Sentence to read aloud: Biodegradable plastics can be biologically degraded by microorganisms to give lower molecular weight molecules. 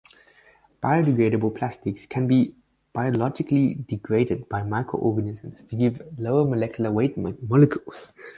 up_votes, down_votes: 2, 0